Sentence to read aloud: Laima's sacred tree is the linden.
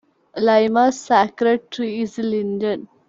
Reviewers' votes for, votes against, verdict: 2, 0, accepted